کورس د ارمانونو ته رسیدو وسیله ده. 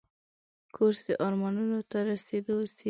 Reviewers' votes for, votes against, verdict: 2, 0, accepted